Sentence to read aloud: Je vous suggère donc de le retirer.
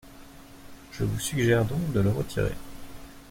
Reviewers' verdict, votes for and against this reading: accepted, 2, 0